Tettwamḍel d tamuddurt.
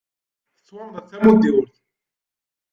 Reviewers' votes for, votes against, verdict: 1, 2, rejected